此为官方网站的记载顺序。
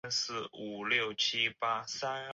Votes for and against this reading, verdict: 0, 3, rejected